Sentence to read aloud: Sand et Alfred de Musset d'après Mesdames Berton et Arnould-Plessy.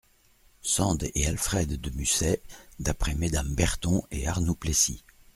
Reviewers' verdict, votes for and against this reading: accepted, 2, 0